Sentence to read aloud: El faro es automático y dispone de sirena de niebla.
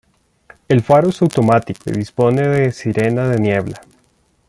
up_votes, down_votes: 2, 0